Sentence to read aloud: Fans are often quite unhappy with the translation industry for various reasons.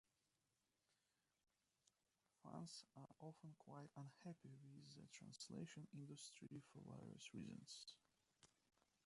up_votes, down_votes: 0, 2